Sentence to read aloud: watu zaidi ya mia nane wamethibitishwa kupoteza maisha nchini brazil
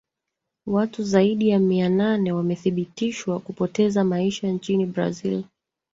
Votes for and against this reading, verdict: 0, 2, rejected